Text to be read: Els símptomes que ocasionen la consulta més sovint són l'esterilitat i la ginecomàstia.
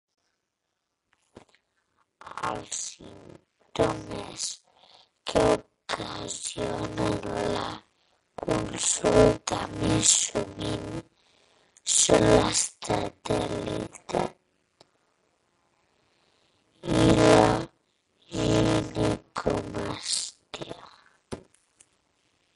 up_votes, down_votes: 0, 2